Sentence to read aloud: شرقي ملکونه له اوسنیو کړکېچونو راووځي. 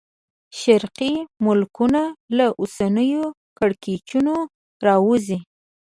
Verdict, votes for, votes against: accepted, 2, 0